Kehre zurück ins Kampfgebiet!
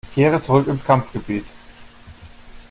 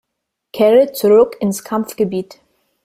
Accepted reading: first